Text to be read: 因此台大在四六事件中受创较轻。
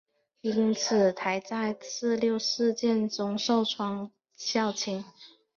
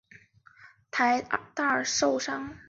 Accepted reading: first